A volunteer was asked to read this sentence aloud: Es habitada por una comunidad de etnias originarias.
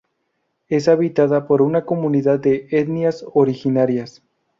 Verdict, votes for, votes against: accepted, 2, 0